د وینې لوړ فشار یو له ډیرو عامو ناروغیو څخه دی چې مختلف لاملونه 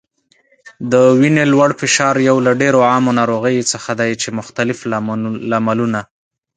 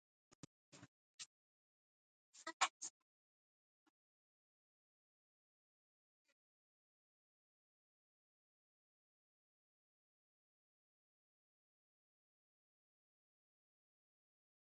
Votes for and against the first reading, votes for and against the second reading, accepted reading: 5, 3, 0, 2, first